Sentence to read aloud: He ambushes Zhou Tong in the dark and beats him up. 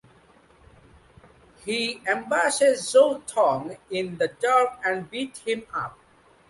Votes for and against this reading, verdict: 2, 1, accepted